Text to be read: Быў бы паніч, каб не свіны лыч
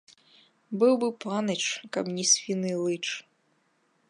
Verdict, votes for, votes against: rejected, 1, 3